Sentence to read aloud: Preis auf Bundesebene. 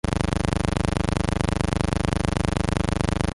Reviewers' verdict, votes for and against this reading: rejected, 0, 2